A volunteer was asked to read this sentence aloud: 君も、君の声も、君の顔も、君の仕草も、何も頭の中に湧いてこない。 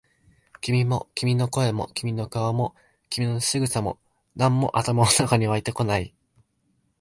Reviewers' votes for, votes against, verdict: 2, 0, accepted